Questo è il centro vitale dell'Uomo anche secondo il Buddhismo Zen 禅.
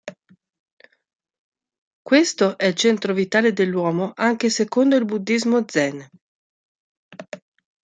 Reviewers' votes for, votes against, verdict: 2, 0, accepted